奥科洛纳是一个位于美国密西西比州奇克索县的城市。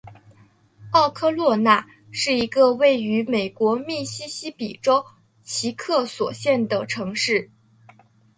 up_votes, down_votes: 2, 0